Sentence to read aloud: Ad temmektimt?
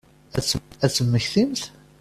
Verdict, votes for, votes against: rejected, 0, 2